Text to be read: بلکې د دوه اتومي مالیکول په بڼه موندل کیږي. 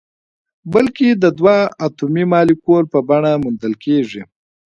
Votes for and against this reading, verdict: 3, 2, accepted